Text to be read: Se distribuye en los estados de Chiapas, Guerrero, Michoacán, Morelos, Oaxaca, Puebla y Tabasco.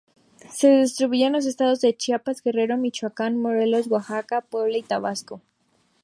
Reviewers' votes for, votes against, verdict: 2, 0, accepted